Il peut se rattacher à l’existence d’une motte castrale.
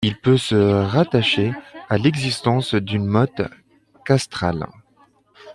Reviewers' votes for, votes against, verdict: 2, 0, accepted